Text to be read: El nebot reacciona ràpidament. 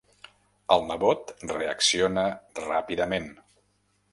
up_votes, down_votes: 3, 0